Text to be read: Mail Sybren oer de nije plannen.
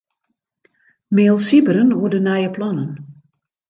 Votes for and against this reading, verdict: 2, 0, accepted